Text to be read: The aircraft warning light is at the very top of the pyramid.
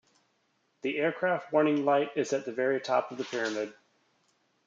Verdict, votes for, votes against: accepted, 2, 0